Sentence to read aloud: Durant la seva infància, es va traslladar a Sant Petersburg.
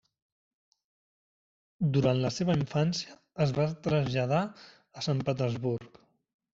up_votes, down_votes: 3, 1